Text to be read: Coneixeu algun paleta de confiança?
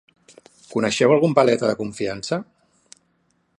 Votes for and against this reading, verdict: 5, 0, accepted